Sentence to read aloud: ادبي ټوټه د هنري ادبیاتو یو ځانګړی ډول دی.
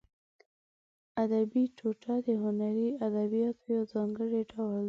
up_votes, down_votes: 1, 2